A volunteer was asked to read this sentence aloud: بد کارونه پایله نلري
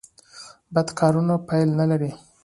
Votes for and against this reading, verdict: 2, 0, accepted